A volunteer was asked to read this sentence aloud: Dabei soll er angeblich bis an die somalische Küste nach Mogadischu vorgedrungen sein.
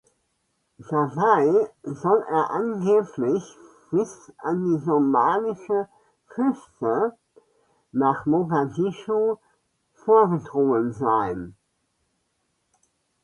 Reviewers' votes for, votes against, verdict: 0, 2, rejected